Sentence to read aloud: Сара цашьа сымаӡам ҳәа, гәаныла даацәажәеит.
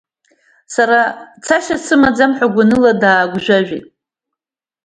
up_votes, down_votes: 2, 1